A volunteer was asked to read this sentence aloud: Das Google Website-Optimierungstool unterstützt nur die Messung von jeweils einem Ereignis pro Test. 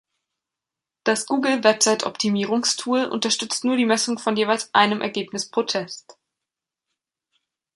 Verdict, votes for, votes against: rejected, 0, 2